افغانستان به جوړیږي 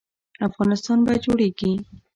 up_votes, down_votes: 2, 0